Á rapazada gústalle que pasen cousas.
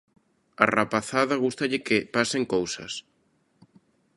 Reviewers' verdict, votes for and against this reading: accepted, 2, 0